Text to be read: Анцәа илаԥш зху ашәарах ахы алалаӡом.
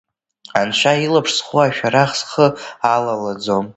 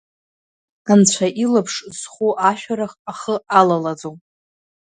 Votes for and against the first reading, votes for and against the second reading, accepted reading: 0, 2, 2, 0, second